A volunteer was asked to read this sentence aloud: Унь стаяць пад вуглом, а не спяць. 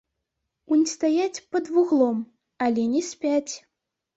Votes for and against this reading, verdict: 0, 2, rejected